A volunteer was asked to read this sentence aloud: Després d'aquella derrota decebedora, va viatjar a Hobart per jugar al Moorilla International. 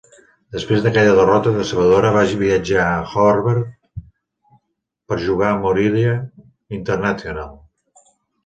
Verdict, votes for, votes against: rejected, 1, 3